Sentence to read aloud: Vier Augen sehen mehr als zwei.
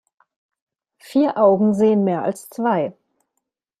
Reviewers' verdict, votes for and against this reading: accepted, 2, 0